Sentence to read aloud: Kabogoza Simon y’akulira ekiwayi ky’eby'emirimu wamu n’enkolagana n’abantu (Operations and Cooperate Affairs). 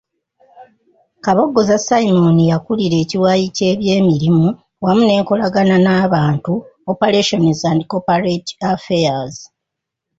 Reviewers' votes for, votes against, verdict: 1, 2, rejected